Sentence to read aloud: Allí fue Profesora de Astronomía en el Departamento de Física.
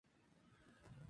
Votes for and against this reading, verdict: 0, 2, rejected